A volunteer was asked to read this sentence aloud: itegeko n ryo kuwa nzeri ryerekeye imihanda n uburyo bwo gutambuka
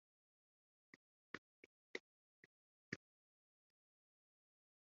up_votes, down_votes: 0, 2